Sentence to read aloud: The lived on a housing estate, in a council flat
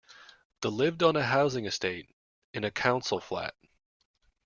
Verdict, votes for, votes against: rejected, 1, 2